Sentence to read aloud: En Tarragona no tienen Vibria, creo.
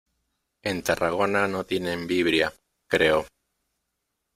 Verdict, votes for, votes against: accepted, 2, 0